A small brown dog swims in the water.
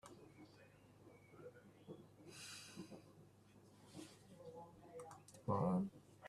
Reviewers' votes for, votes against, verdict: 0, 2, rejected